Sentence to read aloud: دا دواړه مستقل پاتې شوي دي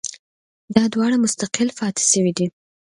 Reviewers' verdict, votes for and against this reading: accepted, 2, 0